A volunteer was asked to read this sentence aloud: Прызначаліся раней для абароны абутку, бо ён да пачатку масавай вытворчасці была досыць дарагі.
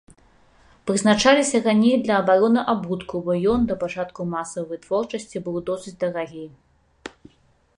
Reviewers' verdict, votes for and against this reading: rejected, 1, 2